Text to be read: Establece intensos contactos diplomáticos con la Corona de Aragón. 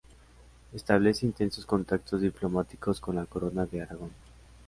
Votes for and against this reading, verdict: 2, 0, accepted